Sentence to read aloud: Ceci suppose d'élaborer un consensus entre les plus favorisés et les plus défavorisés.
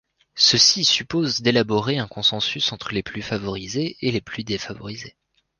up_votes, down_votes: 2, 0